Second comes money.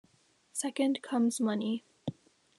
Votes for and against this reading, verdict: 2, 0, accepted